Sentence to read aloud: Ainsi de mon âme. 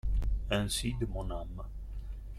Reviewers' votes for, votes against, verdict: 2, 0, accepted